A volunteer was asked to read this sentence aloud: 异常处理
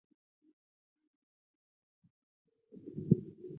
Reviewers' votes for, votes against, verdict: 1, 4, rejected